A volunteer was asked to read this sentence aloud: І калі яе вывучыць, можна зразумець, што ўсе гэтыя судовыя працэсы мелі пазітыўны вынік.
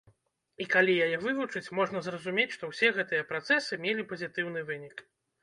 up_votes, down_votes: 0, 2